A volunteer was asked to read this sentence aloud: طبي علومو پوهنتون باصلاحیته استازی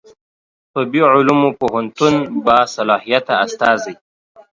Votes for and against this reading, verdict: 2, 0, accepted